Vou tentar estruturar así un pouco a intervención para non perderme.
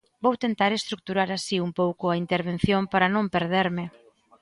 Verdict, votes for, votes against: accepted, 2, 0